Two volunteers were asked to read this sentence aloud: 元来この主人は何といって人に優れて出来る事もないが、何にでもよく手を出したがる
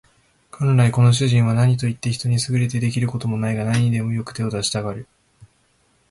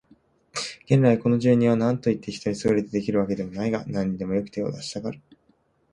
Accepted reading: first